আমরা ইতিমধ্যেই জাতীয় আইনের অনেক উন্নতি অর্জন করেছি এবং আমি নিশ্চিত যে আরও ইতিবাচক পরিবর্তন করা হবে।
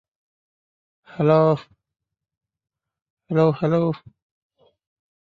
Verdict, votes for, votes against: rejected, 0, 2